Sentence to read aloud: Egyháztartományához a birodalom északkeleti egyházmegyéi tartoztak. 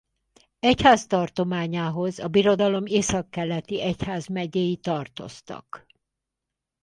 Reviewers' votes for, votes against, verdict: 4, 0, accepted